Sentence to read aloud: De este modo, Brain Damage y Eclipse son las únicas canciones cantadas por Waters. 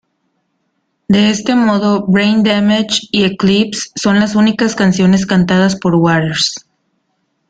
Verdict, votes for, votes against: accepted, 2, 0